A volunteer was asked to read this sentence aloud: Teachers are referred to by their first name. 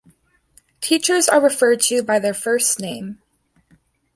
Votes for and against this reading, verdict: 2, 0, accepted